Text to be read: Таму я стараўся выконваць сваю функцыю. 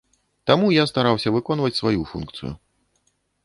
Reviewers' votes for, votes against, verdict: 2, 0, accepted